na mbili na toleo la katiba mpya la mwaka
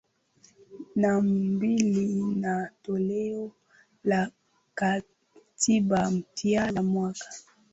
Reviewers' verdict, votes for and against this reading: accepted, 2, 0